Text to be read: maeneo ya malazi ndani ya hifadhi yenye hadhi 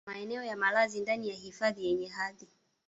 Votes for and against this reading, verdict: 0, 2, rejected